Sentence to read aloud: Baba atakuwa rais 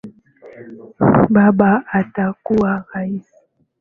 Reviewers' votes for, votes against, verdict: 2, 1, accepted